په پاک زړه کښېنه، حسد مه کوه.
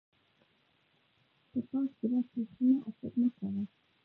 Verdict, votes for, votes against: rejected, 0, 2